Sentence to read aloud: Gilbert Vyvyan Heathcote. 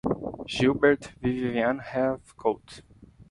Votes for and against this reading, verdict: 0, 2, rejected